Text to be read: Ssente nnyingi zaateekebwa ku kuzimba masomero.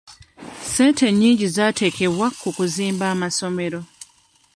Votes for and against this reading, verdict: 2, 1, accepted